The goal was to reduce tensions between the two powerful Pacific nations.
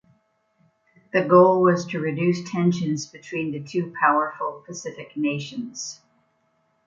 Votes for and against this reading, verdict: 2, 0, accepted